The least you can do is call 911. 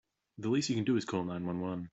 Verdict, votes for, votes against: rejected, 0, 2